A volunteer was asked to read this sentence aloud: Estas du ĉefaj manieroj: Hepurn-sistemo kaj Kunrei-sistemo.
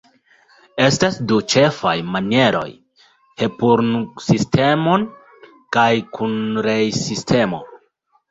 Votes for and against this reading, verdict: 2, 1, accepted